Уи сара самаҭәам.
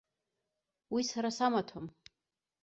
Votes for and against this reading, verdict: 2, 0, accepted